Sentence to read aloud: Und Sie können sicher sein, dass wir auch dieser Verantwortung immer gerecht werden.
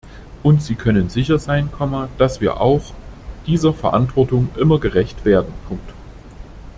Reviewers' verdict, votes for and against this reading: rejected, 0, 2